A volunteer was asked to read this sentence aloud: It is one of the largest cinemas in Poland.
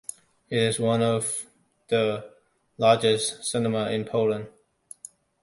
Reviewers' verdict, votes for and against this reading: accepted, 2, 0